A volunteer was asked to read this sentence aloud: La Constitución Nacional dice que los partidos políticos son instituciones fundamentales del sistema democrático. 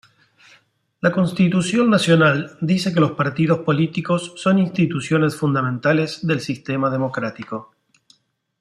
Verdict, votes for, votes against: accepted, 2, 0